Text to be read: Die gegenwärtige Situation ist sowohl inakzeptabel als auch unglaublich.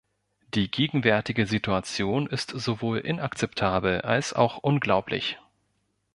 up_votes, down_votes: 2, 0